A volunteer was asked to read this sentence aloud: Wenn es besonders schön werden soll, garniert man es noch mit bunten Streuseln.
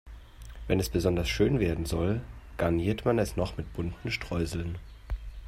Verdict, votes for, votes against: accepted, 3, 0